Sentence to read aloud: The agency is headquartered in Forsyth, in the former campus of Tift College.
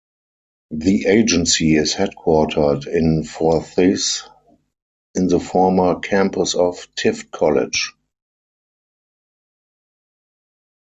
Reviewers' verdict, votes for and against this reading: rejected, 0, 4